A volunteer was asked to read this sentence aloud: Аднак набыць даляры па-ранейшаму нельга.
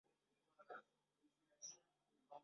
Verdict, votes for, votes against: rejected, 0, 3